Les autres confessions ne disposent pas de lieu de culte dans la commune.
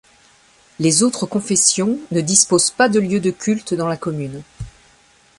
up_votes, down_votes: 2, 0